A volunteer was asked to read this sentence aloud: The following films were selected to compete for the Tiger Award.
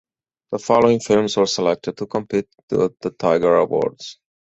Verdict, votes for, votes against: rejected, 2, 4